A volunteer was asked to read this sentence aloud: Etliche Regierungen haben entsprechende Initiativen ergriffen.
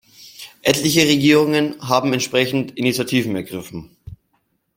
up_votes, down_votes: 1, 2